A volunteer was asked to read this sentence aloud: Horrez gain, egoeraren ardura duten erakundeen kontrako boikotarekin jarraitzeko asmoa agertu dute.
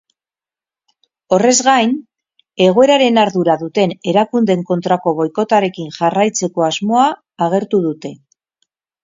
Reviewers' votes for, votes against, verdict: 0, 2, rejected